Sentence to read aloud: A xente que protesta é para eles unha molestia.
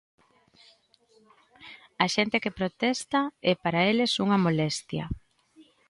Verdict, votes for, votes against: accepted, 2, 0